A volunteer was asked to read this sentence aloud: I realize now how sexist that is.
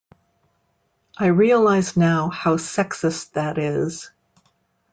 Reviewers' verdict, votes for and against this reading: accepted, 2, 0